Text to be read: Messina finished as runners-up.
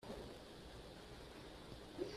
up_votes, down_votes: 1, 2